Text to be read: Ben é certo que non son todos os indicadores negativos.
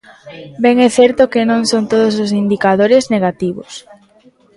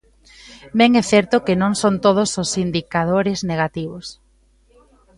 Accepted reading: second